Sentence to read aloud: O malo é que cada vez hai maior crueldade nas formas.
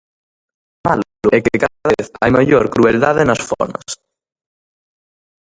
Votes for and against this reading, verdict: 0, 2, rejected